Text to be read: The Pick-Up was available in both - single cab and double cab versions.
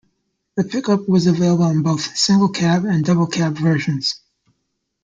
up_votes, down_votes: 0, 2